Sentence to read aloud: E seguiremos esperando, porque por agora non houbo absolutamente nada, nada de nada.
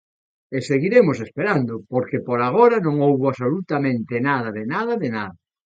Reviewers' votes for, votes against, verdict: 0, 2, rejected